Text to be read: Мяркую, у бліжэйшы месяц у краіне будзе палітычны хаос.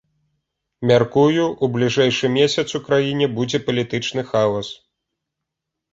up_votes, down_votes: 2, 0